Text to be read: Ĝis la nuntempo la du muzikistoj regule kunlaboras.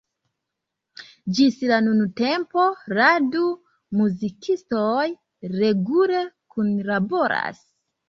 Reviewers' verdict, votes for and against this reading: accepted, 2, 0